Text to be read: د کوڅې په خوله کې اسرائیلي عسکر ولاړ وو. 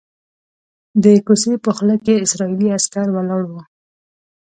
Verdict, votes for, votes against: accepted, 2, 0